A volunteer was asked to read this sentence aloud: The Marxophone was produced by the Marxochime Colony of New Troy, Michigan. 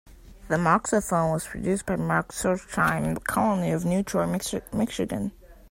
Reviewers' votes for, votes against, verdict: 0, 2, rejected